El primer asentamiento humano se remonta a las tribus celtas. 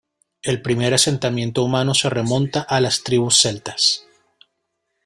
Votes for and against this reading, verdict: 3, 0, accepted